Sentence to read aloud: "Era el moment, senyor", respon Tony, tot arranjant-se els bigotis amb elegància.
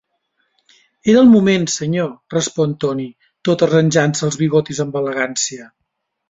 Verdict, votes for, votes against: accepted, 2, 0